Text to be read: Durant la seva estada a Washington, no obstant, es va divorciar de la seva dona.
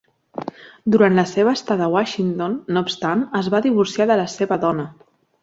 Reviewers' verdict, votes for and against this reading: accepted, 3, 0